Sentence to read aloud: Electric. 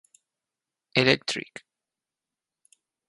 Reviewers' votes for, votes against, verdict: 4, 0, accepted